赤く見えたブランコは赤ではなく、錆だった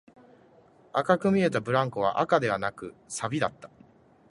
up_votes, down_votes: 2, 0